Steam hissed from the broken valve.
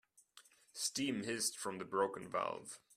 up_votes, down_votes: 2, 0